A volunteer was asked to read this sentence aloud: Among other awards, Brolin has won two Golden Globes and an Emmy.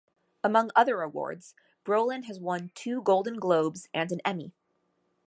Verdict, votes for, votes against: accepted, 2, 0